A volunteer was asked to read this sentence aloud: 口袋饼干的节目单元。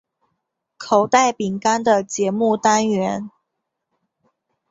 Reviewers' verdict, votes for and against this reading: accepted, 2, 0